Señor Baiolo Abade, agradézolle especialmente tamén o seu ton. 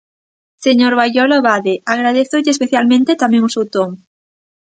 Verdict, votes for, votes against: accepted, 2, 0